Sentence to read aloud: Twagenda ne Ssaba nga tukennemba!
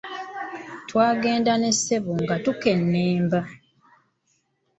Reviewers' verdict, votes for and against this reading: rejected, 0, 2